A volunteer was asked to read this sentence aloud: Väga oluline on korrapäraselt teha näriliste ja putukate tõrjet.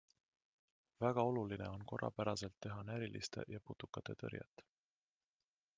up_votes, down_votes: 3, 1